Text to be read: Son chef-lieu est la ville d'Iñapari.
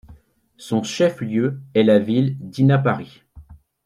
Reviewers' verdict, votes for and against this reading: rejected, 1, 2